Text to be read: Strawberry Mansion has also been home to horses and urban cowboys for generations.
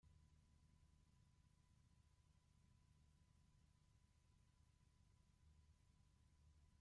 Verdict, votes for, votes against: rejected, 1, 2